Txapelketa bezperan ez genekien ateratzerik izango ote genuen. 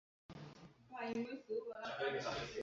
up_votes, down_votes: 2, 4